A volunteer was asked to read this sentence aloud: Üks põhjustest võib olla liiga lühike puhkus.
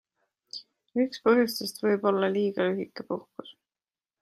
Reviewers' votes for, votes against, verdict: 2, 0, accepted